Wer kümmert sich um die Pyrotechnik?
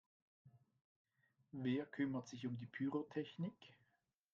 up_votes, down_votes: 1, 2